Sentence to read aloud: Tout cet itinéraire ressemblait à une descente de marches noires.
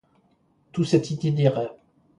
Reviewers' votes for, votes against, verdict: 0, 2, rejected